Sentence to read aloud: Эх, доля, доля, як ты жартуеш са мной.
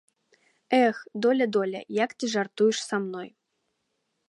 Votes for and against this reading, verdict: 2, 0, accepted